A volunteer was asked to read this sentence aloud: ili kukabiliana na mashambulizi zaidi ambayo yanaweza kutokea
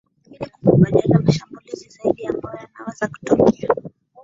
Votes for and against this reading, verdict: 0, 2, rejected